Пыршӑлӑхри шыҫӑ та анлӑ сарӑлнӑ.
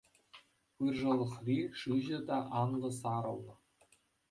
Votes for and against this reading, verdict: 2, 0, accepted